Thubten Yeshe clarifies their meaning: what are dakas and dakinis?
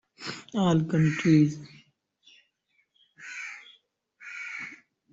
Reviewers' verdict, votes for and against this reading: rejected, 0, 2